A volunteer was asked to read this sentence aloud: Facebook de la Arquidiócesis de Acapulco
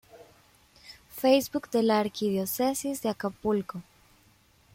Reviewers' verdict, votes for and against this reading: rejected, 0, 2